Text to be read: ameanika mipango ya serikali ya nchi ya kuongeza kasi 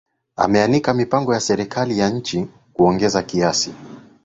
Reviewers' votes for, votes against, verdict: 0, 2, rejected